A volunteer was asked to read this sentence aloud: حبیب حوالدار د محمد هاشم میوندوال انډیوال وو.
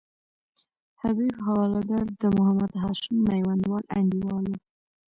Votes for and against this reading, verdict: 0, 2, rejected